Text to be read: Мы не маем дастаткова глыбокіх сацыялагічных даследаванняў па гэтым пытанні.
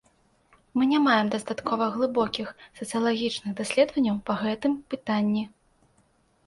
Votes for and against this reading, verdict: 1, 2, rejected